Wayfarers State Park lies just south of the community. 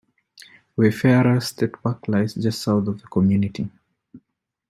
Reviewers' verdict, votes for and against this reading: rejected, 1, 2